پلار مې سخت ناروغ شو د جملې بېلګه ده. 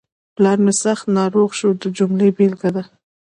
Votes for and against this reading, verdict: 2, 0, accepted